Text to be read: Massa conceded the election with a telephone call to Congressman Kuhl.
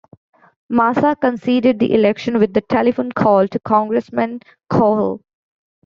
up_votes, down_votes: 2, 1